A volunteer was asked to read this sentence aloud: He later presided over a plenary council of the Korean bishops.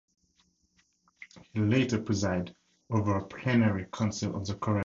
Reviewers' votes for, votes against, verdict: 0, 2, rejected